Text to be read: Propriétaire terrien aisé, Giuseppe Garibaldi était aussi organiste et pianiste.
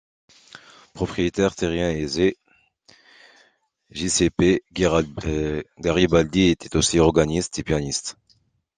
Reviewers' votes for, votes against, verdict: 0, 2, rejected